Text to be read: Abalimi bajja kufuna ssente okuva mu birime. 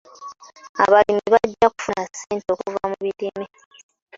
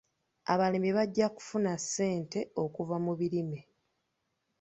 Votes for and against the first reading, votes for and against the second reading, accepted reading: 0, 2, 3, 1, second